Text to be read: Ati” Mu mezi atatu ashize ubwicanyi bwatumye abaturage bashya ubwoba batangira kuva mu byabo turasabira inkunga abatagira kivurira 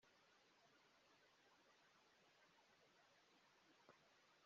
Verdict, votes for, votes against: rejected, 0, 2